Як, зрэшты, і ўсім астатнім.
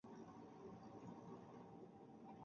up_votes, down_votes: 0, 2